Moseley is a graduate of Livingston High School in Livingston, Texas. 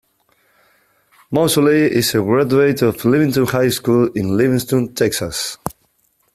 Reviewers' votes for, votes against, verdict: 2, 0, accepted